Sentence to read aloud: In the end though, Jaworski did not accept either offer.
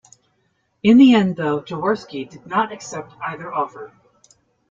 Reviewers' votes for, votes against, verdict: 0, 2, rejected